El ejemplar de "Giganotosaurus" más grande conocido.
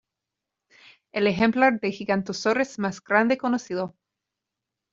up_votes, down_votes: 1, 2